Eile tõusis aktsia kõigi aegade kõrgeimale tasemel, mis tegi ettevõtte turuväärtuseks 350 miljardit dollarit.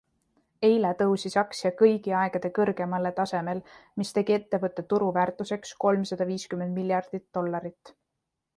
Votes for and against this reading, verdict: 0, 2, rejected